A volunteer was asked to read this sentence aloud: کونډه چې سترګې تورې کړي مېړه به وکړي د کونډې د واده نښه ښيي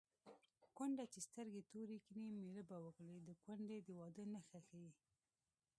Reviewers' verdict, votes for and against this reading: rejected, 0, 2